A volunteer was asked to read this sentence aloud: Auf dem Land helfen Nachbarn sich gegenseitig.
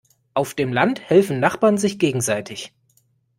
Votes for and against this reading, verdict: 2, 0, accepted